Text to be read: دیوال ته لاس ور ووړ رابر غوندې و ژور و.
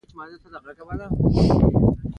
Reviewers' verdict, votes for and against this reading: accepted, 2, 0